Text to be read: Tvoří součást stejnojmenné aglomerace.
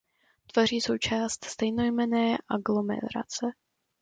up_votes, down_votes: 2, 0